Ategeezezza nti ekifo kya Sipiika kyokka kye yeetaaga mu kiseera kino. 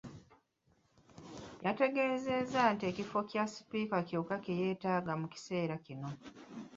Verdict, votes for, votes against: accepted, 2, 1